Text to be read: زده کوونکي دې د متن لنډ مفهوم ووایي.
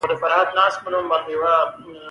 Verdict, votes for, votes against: rejected, 0, 2